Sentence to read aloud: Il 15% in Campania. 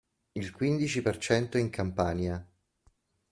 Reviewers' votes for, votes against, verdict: 0, 2, rejected